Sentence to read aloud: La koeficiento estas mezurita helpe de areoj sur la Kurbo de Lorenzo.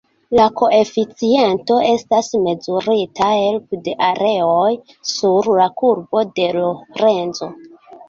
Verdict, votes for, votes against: accepted, 2, 0